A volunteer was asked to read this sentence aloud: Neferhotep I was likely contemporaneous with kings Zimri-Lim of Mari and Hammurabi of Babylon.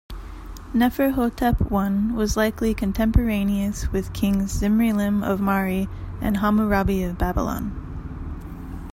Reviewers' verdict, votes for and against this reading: rejected, 0, 2